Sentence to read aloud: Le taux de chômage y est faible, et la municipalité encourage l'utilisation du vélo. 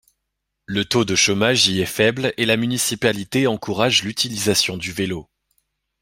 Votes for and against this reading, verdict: 1, 2, rejected